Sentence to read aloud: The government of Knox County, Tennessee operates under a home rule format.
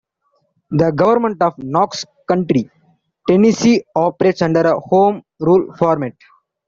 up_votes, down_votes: 0, 2